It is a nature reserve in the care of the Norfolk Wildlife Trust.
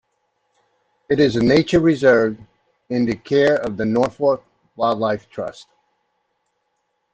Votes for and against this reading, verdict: 0, 2, rejected